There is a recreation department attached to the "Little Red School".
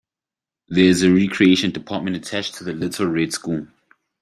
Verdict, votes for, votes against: rejected, 0, 2